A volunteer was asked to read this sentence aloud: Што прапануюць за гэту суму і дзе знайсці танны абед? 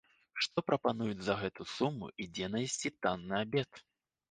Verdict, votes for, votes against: rejected, 1, 2